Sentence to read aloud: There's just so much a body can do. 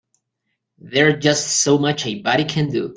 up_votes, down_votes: 1, 2